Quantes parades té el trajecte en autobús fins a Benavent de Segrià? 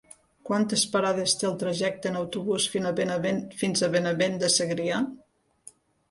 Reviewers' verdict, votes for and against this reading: rejected, 0, 2